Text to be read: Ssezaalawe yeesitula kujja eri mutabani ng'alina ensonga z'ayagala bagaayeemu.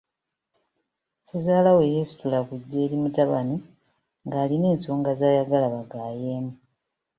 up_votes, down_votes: 2, 0